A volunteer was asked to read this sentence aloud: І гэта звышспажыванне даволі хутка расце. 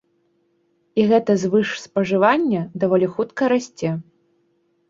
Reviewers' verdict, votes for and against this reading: accepted, 2, 0